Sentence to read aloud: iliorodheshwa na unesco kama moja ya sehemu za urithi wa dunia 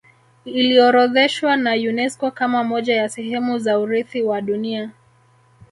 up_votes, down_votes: 2, 0